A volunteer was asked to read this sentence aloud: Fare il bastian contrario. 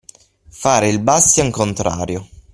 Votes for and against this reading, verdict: 3, 6, rejected